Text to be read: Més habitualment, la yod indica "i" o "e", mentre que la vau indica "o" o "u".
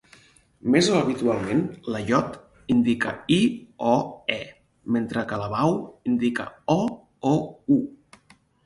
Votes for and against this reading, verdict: 4, 2, accepted